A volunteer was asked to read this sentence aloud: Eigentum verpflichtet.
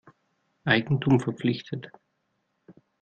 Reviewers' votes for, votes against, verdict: 2, 0, accepted